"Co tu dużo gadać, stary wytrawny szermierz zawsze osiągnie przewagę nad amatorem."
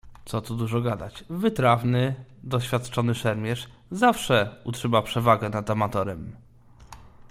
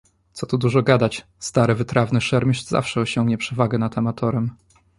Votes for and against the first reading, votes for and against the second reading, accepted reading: 0, 2, 2, 0, second